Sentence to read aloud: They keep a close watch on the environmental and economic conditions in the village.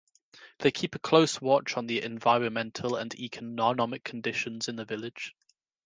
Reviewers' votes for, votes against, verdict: 1, 2, rejected